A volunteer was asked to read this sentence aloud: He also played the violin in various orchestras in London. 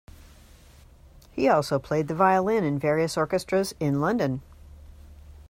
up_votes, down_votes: 2, 0